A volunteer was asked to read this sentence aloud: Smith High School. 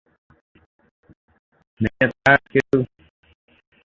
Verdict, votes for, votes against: rejected, 0, 2